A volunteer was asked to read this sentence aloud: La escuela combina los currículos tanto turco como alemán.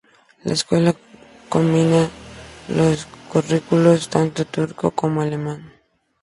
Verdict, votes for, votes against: accepted, 2, 0